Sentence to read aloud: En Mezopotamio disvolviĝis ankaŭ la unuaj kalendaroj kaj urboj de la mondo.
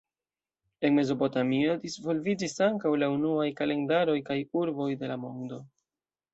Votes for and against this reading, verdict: 2, 0, accepted